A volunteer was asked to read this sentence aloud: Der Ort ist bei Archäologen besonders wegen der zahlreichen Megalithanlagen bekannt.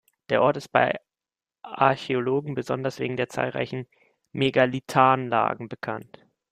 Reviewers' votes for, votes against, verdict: 0, 2, rejected